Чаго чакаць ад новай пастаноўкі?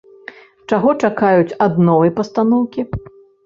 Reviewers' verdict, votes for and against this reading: rejected, 1, 2